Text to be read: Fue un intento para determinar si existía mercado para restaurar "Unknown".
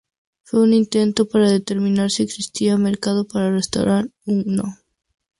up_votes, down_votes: 2, 0